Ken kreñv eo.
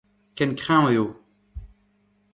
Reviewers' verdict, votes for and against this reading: accepted, 2, 0